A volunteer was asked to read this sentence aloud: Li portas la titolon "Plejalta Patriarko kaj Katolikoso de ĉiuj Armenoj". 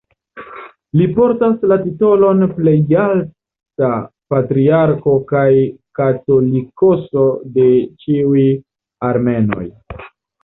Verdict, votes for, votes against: accepted, 2, 0